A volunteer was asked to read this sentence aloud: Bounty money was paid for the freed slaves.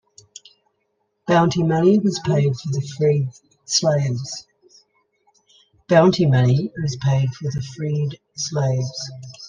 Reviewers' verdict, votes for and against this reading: rejected, 0, 2